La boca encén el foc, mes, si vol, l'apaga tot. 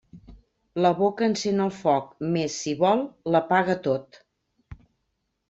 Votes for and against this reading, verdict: 3, 0, accepted